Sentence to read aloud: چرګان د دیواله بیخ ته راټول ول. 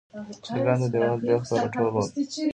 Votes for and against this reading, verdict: 2, 0, accepted